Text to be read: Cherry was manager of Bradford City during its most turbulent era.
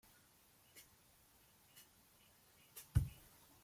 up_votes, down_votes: 0, 2